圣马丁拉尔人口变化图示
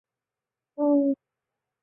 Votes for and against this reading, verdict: 3, 5, rejected